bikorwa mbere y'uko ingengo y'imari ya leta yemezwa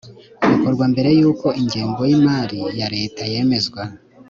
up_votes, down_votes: 3, 0